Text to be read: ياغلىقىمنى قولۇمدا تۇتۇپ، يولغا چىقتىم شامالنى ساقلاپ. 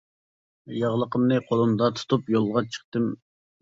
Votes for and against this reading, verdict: 0, 2, rejected